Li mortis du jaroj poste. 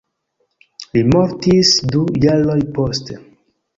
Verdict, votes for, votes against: accepted, 2, 1